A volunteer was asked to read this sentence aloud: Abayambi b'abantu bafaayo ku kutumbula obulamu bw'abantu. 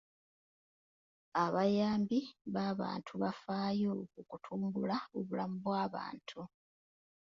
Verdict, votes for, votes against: accepted, 2, 0